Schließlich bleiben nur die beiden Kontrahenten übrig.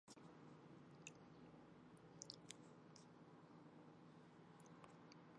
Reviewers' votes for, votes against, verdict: 0, 2, rejected